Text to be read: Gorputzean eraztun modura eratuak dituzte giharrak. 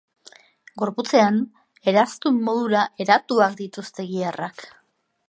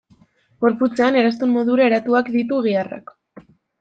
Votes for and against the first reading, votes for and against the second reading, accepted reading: 2, 0, 0, 2, first